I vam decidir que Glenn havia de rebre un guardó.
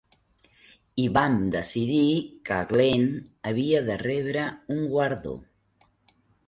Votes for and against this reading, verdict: 0, 2, rejected